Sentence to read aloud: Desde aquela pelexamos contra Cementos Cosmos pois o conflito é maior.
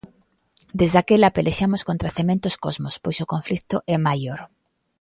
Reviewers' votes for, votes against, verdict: 1, 2, rejected